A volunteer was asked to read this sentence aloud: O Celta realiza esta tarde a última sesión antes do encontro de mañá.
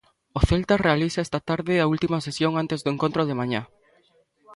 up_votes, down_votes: 2, 0